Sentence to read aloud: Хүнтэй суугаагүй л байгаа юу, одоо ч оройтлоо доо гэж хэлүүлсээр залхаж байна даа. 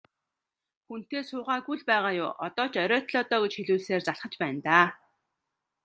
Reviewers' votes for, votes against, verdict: 2, 0, accepted